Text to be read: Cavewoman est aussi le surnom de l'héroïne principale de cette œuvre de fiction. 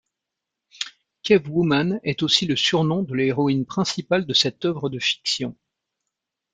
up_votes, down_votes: 2, 0